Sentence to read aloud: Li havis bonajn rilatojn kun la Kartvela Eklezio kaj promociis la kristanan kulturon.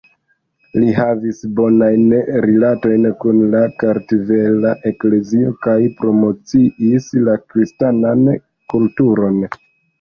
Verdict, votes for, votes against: accepted, 2, 0